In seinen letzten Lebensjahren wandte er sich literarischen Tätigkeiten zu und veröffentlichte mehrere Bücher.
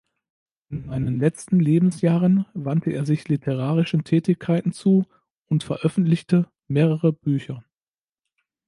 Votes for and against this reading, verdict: 1, 2, rejected